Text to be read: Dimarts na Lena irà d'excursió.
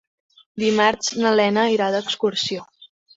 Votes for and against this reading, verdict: 3, 0, accepted